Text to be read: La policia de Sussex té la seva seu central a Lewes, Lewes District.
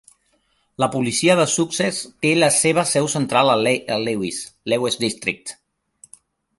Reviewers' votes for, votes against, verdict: 1, 2, rejected